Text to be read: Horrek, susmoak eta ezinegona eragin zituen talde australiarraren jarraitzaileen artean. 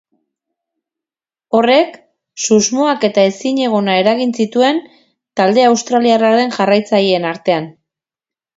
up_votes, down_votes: 4, 0